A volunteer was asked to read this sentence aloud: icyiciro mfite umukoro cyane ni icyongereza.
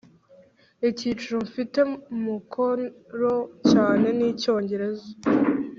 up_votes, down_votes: 2, 0